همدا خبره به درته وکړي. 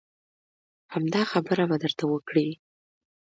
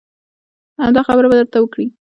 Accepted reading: first